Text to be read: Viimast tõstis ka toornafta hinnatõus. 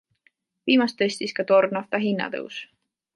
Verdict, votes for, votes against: accepted, 2, 0